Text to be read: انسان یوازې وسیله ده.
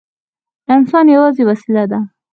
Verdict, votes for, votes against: rejected, 2, 4